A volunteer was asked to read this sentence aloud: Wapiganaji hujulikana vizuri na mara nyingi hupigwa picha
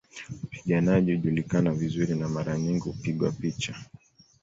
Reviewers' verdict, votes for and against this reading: accepted, 2, 0